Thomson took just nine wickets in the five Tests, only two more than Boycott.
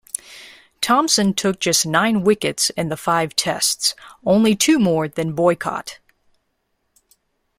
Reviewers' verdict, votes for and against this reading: accepted, 2, 0